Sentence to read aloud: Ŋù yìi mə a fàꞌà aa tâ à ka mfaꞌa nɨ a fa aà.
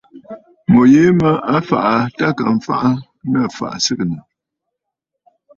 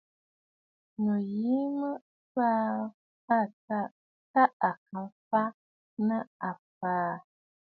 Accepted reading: first